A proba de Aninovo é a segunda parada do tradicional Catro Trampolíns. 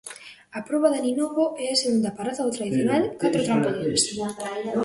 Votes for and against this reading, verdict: 0, 2, rejected